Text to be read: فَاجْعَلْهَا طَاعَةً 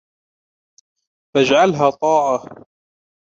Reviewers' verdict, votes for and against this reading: accepted, 2, 0